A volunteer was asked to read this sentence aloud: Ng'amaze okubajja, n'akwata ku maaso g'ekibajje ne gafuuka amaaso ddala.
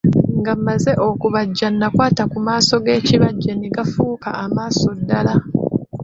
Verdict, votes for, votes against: rejected, 1, 2